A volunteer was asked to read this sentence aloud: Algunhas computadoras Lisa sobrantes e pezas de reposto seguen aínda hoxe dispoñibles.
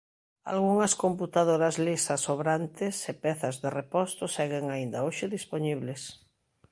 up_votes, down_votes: 2, 0